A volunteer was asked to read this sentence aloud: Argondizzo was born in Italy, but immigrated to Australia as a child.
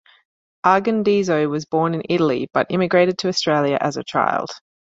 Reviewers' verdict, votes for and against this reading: accepted, 2, 0